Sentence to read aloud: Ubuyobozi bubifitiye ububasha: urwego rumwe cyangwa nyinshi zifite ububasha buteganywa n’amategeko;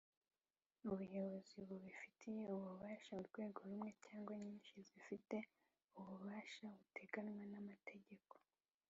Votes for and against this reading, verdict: 1, 2, rejected